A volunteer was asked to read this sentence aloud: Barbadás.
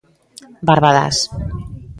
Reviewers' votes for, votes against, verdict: 2, 0, accepted